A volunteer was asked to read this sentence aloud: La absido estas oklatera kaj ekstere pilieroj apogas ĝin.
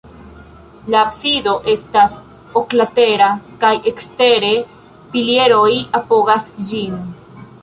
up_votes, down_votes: 2, 1